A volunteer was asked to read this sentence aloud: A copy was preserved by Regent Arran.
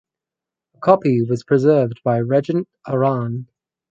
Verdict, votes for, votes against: rejected, 2, 2